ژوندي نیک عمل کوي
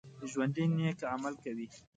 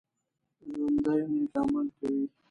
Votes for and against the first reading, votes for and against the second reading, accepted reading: 2, 0, 0, 2, first